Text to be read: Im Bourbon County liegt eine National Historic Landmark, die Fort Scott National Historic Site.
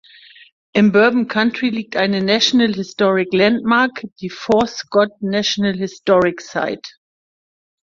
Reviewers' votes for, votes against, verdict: 1, 2, rejected